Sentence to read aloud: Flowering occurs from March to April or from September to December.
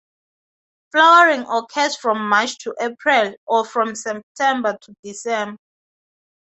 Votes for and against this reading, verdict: 2, 2, rejected